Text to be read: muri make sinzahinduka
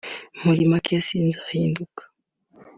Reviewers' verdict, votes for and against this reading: accepted, 2, 0